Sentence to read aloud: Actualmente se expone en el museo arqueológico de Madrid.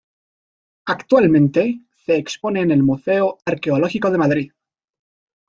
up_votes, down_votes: 2, 0